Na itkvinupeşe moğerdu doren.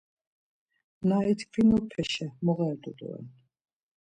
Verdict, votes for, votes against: accepted, 2, 0